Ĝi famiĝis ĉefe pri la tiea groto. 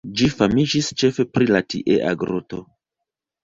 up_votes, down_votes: 0, 2